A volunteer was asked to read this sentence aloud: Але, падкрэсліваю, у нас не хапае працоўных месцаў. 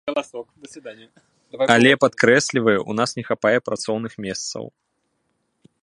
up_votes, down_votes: 0, 2